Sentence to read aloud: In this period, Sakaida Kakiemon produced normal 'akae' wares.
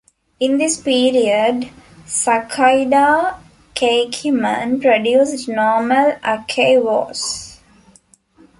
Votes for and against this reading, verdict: 0, 2, rejected